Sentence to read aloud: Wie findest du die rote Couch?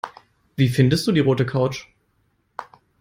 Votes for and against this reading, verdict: 2, 0, accepted